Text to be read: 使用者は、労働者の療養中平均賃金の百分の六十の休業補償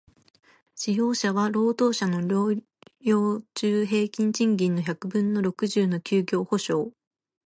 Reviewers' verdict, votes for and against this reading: accepted, 2, 1